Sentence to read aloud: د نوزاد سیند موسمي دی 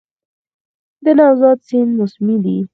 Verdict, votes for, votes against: rejected, 2, 4